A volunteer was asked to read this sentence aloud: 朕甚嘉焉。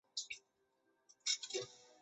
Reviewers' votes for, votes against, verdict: 1, 2, rejected